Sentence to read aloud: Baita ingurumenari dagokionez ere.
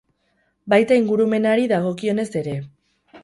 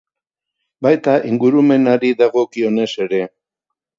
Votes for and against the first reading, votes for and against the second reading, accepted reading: 0, 2, 2, 0, second